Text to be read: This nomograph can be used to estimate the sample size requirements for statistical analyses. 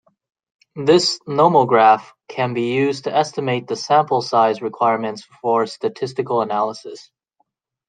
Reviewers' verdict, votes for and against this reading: rejected, 1, 2